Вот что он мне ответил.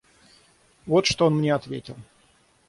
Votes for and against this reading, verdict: 6, 0, accepted